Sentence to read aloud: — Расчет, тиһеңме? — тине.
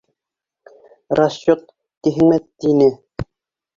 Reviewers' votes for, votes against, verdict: 2, 1, accepted